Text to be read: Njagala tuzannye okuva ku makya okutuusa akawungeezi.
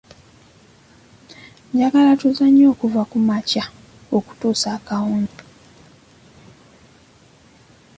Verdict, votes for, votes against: rejected, 0, 2